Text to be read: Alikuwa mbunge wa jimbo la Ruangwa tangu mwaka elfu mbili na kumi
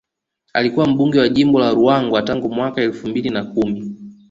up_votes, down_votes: 2, 0